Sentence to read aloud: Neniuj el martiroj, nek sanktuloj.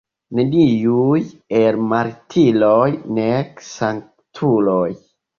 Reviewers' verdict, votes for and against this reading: accepted, 2, 0